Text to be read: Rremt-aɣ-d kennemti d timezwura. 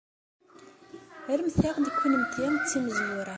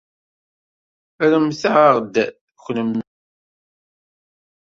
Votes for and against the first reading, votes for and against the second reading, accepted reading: 2, 0, 0, 2, first